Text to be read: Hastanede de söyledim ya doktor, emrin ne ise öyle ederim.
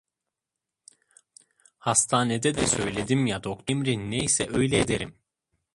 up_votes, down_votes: 0, 2